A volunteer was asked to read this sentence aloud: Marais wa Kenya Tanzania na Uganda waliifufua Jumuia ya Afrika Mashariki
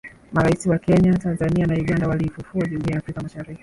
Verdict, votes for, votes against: rejected, 0, 3